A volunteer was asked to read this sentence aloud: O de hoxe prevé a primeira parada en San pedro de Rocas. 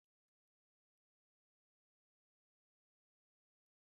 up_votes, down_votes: 0, 2